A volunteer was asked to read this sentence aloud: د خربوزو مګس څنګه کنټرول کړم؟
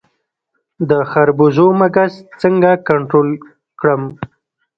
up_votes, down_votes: 2, 0